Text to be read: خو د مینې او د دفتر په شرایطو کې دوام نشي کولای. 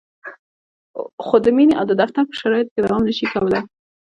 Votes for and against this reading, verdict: 2, 1, accepted